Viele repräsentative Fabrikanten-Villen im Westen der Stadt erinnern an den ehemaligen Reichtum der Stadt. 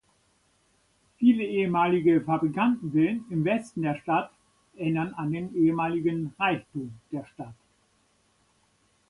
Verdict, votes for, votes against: rejected, 0, 2